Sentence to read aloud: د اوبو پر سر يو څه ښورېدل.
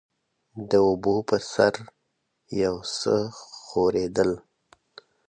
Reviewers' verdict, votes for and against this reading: accepted, 2, 1